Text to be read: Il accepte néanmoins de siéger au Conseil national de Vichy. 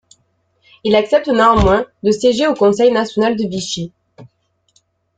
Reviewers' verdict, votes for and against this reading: rejected, 0, 2